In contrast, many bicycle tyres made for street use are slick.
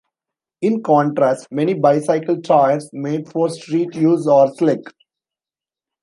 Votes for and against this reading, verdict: 1, 2, rejected